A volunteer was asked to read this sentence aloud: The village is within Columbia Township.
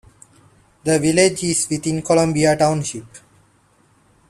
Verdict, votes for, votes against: accepted, 2, 0